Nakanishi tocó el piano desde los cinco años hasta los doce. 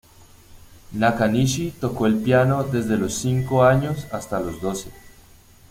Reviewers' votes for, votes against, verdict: 2, 0, accepted